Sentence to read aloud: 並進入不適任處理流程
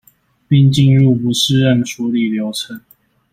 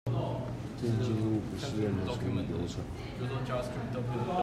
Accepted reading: first